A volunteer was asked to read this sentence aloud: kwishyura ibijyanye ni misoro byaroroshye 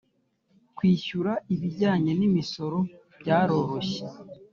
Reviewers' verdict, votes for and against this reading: rejected, 1, 2